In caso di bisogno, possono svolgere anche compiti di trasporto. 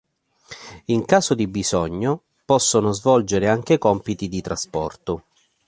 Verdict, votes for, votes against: accepted, 2, 0